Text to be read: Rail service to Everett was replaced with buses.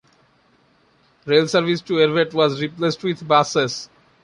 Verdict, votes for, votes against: accepted, 2, 0